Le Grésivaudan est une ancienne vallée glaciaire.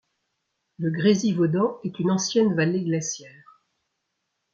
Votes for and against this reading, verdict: 2, 0, accepted